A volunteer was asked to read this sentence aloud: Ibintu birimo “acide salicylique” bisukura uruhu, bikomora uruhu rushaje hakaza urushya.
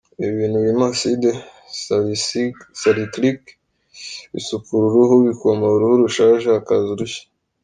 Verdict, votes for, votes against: rejected, 1, 2